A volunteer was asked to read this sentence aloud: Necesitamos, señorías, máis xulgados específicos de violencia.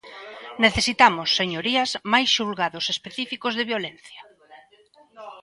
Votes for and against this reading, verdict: 2, 0, accepted